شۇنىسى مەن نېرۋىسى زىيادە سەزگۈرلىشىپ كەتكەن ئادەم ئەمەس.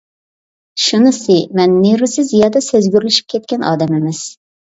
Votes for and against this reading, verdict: 2, 0, accepted